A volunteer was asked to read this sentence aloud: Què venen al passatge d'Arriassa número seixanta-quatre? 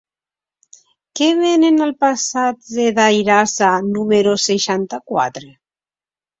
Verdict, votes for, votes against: rejected, 1, 2